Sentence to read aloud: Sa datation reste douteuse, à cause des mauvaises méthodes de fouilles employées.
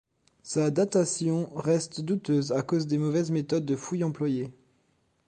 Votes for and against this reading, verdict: 2, 0, accepted